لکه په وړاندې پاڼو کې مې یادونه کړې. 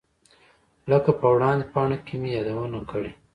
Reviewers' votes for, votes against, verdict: 1, 2, rejected